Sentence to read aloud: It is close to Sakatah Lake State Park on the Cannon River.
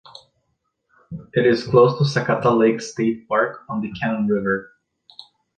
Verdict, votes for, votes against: rejected, 1, 2